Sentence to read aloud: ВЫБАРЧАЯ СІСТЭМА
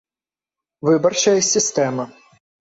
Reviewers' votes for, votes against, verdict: 2, 0, accepted